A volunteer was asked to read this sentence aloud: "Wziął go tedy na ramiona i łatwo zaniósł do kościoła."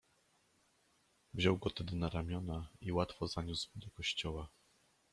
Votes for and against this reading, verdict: 0, 2, rejected